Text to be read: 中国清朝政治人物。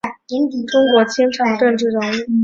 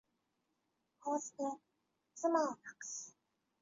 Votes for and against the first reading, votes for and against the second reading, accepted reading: 2, 1, 0, 2, first